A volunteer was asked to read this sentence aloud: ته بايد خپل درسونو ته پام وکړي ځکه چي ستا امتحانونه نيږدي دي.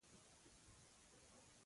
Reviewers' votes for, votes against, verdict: 0, 2, rejected